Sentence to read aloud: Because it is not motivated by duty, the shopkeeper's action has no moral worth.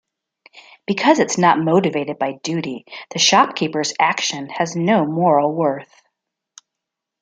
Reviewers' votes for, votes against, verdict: 2, 0, accepted